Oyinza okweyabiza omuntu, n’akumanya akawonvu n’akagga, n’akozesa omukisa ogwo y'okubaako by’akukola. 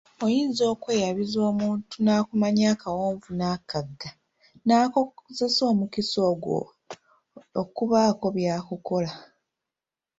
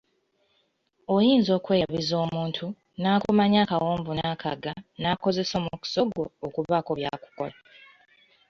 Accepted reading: second